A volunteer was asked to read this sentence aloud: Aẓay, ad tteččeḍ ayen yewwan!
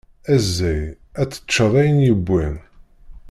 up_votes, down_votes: 1, 2